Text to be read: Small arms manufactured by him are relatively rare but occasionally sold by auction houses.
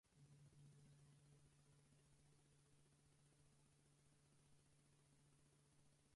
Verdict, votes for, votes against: rejected, 0, 4